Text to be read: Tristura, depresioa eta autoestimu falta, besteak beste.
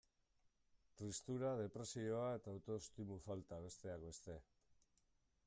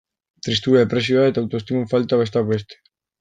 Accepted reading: first